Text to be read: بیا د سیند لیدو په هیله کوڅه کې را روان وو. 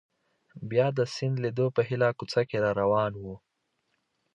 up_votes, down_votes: 2, 0